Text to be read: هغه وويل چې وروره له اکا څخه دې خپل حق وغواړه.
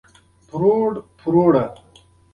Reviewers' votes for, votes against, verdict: 1, 2, rejected